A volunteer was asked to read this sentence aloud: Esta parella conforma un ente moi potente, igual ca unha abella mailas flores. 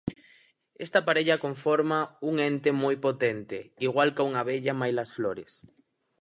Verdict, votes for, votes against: accepted, 4, 0